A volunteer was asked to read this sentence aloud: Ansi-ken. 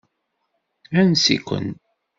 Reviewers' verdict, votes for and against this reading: accepted, 2, 0